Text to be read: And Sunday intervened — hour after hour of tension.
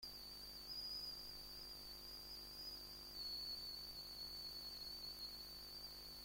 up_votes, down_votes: 0, 2